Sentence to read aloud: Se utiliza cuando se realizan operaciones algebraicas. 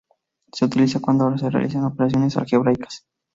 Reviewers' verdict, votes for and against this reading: rejected, 0, 2